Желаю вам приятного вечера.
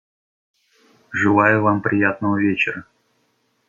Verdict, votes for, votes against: accepted, 2, 0